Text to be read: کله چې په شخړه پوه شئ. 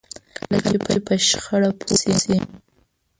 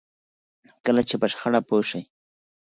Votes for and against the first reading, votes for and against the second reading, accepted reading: 1, 2, 4, 0, second